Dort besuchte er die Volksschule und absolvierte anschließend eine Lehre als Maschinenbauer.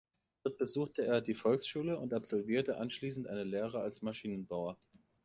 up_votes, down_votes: 0, 2